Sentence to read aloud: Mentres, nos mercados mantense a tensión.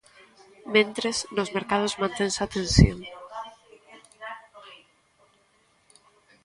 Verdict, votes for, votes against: rejected, 1, 2